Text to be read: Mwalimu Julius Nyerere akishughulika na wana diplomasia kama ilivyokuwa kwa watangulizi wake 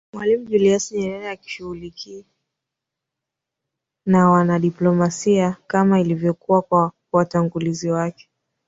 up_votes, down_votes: 0, 2